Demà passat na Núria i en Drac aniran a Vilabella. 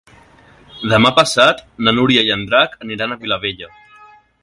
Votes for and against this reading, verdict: 1, 2, rejected